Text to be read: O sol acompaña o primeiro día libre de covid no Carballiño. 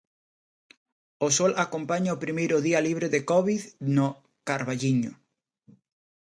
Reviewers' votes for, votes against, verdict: 2, 0, accepted